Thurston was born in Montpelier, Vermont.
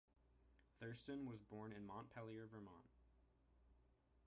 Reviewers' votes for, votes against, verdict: 2, 0, accepted